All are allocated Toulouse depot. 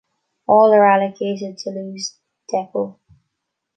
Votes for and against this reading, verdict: 2, 1, accepted